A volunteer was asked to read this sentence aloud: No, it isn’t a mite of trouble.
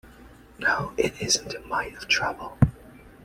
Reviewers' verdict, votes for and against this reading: accepted, 2, 0